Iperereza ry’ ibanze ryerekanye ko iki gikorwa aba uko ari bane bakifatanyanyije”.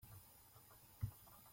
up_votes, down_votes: 0, 3